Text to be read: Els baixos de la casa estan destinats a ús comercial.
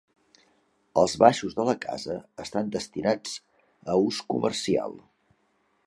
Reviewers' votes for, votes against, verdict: 3, 0, accepted